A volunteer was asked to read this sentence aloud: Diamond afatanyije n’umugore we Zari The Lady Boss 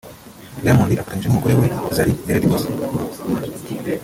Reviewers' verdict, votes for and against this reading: rejected, 0, 2